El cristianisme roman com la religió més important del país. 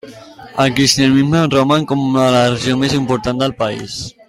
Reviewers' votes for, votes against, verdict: 0, 2, rejected